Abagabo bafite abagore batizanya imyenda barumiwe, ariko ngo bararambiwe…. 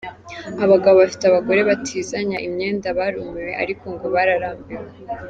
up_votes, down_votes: 1, 2